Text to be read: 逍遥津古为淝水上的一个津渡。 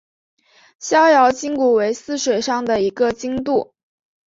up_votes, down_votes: 4, 0